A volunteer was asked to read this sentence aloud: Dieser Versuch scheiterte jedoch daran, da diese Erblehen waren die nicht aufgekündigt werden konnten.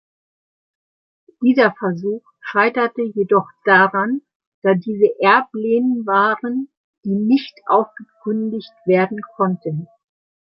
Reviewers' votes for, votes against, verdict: 2, 0, accepted